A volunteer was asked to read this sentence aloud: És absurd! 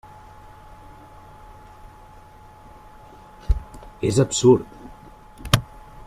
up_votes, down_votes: 3, 0